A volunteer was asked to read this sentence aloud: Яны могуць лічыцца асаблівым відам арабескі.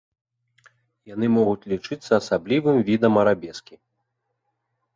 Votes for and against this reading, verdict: 2, 0, accepted